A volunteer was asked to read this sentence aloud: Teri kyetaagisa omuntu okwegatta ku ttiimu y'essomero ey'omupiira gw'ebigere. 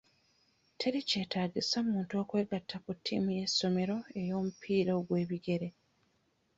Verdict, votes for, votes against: rejected, 1, 2